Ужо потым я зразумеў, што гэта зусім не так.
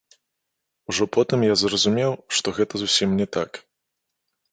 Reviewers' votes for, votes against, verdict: 0, 2, rejected